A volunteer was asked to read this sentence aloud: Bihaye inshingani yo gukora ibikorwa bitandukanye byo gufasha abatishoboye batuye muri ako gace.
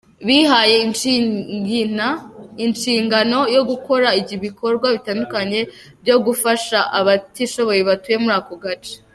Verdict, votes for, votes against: rejected, 1, 2